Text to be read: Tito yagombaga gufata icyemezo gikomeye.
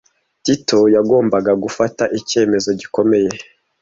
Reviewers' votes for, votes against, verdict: 2, 0, accepted